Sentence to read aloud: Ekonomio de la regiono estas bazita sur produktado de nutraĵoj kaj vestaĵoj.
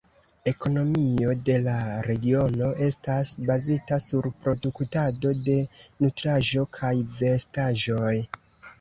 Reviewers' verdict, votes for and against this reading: rejected, 0, 2